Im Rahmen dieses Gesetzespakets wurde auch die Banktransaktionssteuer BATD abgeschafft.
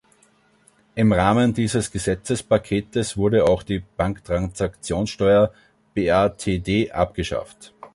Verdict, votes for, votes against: rejected, 1, 2